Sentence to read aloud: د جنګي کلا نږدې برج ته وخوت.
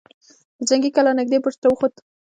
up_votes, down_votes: 1, 2